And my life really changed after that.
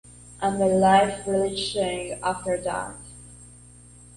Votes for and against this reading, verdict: 0, 2, rejected